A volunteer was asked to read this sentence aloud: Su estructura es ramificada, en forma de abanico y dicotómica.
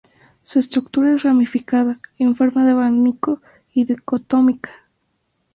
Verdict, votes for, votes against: accepted, 4, 0